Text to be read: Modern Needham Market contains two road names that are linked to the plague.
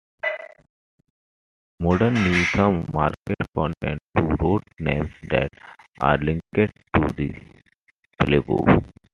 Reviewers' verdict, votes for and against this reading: accepted, 2, 1